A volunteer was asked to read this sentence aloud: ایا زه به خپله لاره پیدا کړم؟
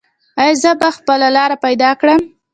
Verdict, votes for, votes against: rejected, 0, 2